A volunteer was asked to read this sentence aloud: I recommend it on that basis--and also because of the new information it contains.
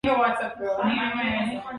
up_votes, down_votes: 1, 2